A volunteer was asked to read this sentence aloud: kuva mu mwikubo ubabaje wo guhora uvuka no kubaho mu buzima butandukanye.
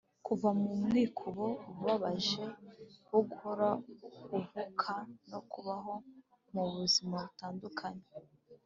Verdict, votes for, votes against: accepted, 6, 0